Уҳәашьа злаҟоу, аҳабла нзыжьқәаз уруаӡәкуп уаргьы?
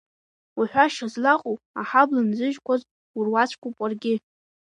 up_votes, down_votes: 0, 2